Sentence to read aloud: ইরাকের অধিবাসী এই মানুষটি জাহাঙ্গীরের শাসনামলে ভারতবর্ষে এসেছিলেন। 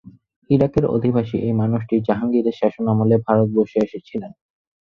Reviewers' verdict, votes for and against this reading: rejected, 2, 4